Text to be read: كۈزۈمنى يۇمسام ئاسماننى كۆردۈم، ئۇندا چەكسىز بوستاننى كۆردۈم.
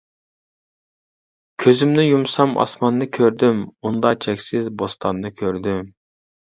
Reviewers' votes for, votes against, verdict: 2, 0, accepted